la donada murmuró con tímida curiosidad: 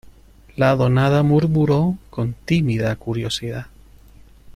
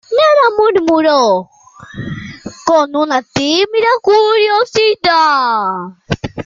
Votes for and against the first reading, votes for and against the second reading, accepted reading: 2, 0, 0, 2, first